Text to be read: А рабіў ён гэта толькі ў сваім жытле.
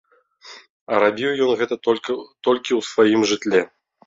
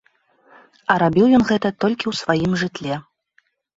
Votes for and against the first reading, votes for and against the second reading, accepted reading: 0, 2, 2, 0, second